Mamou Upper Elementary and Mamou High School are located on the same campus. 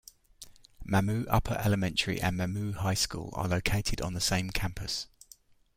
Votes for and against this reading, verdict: 2, 0, accepted